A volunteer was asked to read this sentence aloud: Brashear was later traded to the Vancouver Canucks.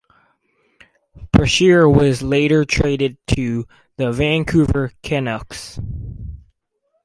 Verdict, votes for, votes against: accepted, 4, 0